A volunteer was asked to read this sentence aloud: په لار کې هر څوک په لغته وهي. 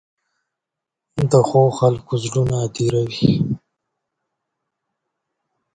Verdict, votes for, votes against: rejected, 0, 2